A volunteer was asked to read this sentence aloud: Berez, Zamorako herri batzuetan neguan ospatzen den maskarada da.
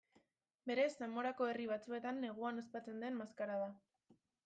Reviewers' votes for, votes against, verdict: 0, 2, rejected